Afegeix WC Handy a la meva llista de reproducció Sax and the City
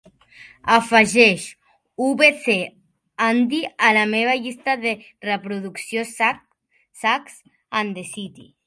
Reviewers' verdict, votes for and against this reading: rejected, 1, 2